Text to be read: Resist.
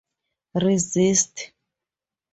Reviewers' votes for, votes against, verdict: 2, 0, accepted